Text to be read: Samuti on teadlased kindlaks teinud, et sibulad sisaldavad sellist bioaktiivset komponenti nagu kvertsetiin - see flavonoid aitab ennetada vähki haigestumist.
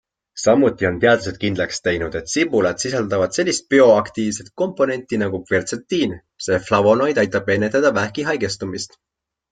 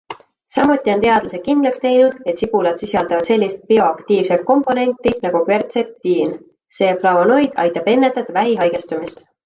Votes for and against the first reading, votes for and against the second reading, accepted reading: 2, 0, 0, 2, first